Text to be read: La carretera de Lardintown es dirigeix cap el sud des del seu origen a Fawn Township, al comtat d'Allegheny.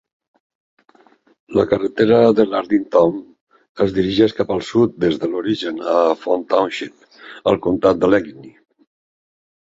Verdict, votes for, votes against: accepted, 2, 1